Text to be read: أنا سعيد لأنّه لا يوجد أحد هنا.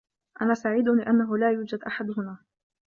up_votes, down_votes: 2, 1